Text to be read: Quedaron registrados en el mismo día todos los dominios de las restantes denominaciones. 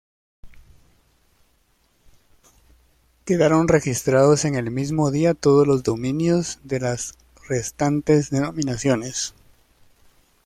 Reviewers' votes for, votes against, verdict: 2, 0, accepted